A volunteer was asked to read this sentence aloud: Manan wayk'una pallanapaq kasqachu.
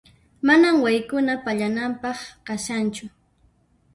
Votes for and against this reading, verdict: 1, 2, rejected